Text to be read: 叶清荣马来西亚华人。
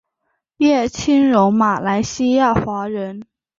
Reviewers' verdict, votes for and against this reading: accepted, 6, 0